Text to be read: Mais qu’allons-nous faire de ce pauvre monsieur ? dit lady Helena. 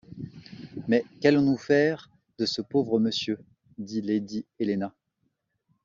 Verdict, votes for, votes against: accepted, 2, 0